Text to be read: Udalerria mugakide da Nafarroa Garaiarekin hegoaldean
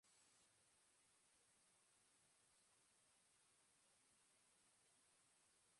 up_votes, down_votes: 0, 2